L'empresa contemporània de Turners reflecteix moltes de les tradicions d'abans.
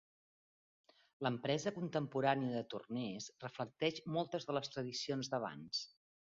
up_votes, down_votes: 2, 1